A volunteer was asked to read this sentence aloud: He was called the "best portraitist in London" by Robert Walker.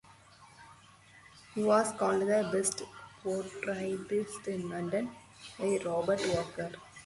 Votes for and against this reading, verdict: 4, 2, accepted